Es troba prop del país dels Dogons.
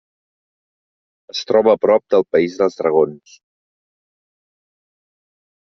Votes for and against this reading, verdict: 0, 2, rejected